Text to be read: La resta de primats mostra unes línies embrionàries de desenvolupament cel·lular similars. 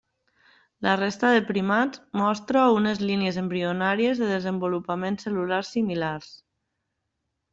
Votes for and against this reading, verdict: 2, 0, accepted